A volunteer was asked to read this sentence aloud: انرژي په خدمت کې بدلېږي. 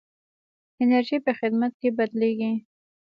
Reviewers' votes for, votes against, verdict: 2, 1, accepted